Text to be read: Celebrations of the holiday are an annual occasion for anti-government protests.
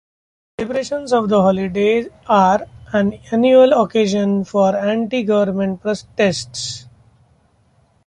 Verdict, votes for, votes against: rejected, 0, 2